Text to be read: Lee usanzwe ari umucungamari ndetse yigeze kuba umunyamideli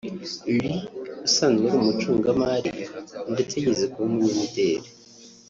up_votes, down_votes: 0, 2